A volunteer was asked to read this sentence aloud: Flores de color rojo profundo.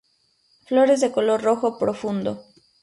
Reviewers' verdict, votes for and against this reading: accepted, 2, 0